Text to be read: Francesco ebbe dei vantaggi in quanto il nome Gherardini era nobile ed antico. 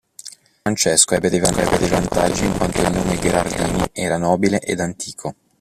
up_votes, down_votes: 0, 2